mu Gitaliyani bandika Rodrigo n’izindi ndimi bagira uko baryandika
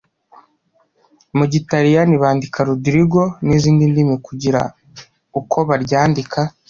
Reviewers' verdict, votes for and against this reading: rejected, 1, 2